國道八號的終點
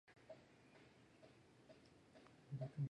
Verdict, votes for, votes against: rejected, 0, 2